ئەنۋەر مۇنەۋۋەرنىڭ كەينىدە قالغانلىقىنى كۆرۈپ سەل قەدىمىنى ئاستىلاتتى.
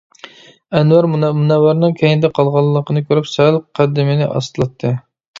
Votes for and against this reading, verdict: 1, 2, rejected